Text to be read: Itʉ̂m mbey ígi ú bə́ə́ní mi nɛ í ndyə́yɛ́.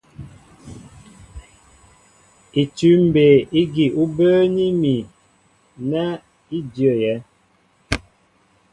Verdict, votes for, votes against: accepted, 2, 0